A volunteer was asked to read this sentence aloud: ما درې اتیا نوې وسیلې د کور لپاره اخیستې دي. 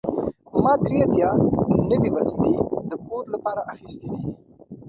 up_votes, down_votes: 1, 2